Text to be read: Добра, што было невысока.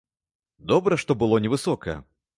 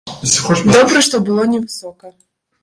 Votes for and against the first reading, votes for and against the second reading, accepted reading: 2, 1, 0, 2, first